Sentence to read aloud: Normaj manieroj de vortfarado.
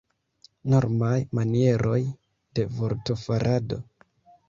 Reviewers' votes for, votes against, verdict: 1, 2, rejected